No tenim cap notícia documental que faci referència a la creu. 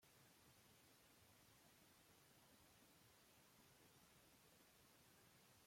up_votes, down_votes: 0, 2